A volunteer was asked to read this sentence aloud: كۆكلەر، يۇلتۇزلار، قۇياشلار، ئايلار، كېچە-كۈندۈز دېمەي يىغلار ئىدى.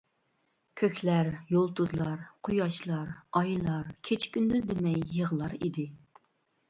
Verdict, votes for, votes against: accepted, 2, 0